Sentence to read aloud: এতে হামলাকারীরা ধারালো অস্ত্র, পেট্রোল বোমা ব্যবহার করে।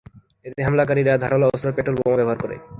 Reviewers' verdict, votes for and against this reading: accepted, 3, 1